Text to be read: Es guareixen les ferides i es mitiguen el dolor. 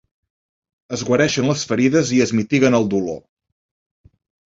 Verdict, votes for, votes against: accepted, 4, 0